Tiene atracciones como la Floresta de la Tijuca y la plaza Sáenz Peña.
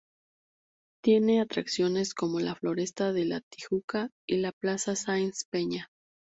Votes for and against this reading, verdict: 0, 2, rejected